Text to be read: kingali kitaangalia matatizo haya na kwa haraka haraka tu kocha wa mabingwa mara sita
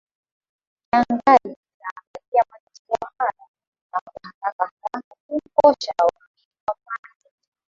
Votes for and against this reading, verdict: 0, 4, rejected